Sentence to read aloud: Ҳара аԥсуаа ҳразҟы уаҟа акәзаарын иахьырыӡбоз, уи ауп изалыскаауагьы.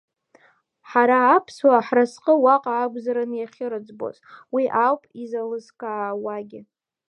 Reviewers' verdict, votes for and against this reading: rejected, 1, 2